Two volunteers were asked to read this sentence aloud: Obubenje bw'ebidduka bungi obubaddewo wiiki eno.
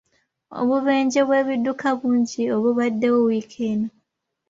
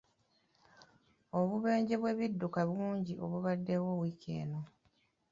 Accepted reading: first